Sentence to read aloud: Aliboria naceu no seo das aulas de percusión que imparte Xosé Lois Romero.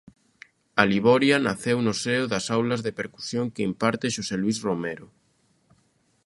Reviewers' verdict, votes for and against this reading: rejected, 0, 2